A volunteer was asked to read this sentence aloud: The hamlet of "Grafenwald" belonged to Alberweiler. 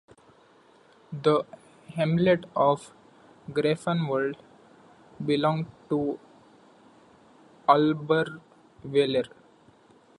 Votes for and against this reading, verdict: 1, 2, rejected